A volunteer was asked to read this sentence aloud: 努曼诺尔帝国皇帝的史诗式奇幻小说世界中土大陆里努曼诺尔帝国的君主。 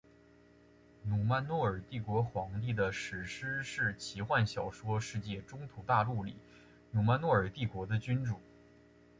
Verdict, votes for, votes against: accepted, 4, 0